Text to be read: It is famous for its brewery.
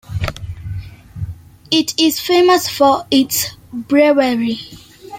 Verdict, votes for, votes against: accepted, 2, 0